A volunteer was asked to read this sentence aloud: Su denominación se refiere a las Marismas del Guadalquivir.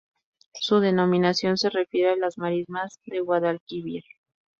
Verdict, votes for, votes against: rejected, 2, 2